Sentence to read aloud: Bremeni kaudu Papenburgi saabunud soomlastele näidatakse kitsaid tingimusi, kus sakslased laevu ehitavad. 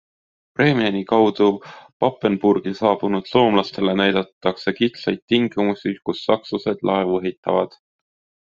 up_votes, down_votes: 2, 0